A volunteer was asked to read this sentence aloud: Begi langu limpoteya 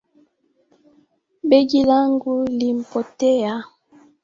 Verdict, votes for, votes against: rejected, 1, 2